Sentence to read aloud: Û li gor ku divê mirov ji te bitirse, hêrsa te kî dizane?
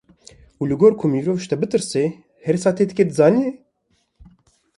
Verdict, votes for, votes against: rejected, 1, 2